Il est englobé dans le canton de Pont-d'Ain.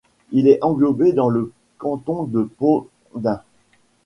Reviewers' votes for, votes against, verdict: 3, 2, accepted